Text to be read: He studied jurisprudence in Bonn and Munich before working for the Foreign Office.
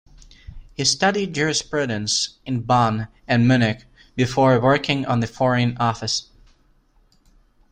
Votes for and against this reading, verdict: 1, 2, rejected